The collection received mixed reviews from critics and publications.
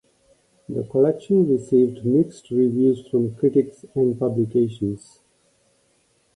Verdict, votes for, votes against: accepted, 2, 0